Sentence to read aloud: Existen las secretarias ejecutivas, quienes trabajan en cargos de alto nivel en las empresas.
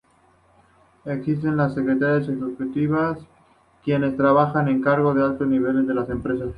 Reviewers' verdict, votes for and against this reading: accepted, 2, 0